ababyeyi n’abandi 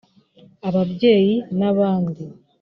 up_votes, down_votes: 3, 0